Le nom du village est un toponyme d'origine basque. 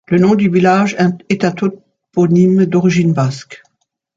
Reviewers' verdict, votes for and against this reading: rejected, 0, 2